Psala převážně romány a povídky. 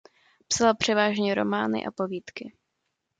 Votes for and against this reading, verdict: 2, 1, accepted